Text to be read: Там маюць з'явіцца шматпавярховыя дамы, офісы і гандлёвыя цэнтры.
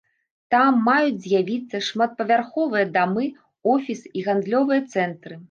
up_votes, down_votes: 2, 1